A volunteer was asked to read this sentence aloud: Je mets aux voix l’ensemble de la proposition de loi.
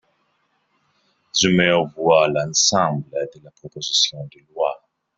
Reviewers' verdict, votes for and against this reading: rejected, 1, 2